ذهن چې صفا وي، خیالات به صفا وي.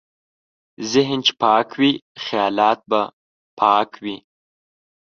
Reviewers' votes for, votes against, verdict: 0, 2, rejected